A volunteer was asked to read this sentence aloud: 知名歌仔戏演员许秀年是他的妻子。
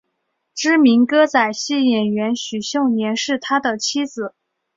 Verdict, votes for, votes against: accepted, 2, 0